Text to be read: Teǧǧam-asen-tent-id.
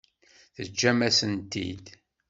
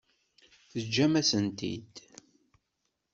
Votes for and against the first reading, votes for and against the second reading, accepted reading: 2, 0, 1, 2, first